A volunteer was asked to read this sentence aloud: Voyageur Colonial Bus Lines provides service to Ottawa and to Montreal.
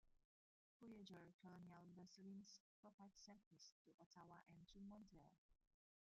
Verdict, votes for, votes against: rejected, 0, 2